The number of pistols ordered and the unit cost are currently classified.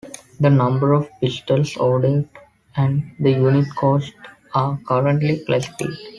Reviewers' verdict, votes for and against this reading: rejected, 0, 2